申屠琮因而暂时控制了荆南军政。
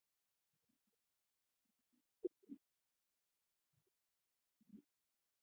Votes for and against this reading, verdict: 0, 3, rejected